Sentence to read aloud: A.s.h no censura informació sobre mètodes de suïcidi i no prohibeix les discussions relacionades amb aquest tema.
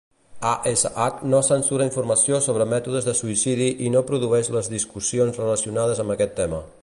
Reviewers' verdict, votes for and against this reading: rejected, 1, 2